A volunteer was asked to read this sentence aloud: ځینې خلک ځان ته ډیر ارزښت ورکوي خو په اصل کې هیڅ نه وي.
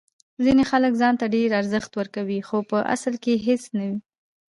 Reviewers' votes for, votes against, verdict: 2, 0, accepted